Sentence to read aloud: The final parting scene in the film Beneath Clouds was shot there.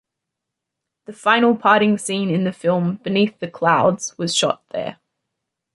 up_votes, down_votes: 1, 2